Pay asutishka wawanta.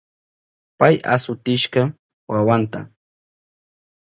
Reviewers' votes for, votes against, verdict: 4, 0, accepted